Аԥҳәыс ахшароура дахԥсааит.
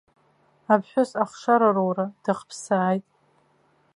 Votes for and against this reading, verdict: 1, 2, rejected